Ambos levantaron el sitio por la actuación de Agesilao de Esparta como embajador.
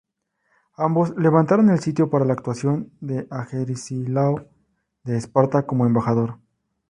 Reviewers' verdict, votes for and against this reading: rejected, 2, 2